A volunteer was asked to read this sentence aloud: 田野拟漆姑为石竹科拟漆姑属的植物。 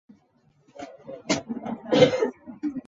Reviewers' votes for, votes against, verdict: 0, 2, rejected